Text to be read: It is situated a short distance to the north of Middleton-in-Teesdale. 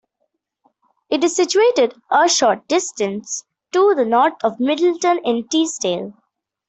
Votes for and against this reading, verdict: 2, 0, accepted